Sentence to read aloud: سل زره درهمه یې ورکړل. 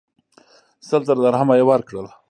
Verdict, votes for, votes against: accepted, 3, 1